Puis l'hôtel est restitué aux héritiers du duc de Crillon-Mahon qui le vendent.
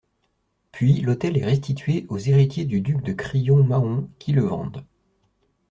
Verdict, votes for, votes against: accepted, 2, 0